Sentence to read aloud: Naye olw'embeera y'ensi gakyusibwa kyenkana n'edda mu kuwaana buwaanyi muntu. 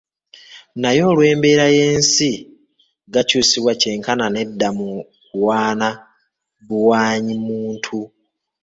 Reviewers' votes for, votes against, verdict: 1, 2, rejected